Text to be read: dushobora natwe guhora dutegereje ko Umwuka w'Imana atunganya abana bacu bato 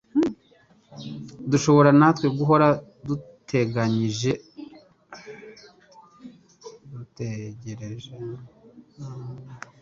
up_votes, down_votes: 0, 2